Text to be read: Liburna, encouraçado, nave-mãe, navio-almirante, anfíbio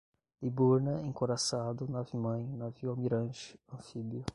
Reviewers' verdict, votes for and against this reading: rejected, 0, 5